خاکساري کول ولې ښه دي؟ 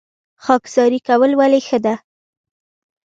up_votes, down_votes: 2, 0